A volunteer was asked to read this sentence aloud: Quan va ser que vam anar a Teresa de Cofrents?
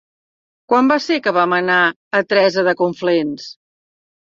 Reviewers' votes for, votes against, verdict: 0, 3, rejected